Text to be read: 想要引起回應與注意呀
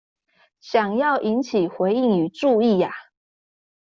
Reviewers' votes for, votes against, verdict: 2, 0, accepted